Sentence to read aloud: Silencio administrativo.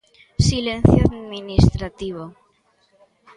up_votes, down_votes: 1, 2